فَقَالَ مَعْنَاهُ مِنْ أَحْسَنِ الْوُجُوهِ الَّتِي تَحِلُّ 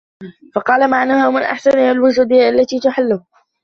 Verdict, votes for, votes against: rejected, 1, 2